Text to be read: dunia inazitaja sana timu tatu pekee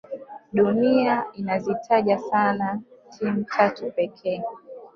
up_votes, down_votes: 2, 1